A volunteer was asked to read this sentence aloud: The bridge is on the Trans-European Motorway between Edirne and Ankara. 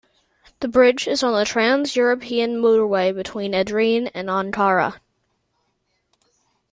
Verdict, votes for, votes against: accepted, 2, 0